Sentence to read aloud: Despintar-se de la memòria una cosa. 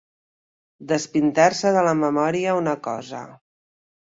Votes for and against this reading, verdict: 2, 0, accepted